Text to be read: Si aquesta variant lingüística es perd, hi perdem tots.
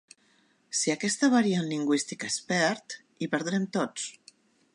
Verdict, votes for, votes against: rejected, 1, 3